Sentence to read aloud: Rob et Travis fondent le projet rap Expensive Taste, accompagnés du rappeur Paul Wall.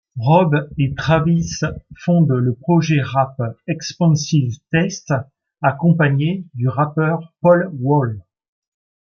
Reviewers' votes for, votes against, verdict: 2, 0, accepted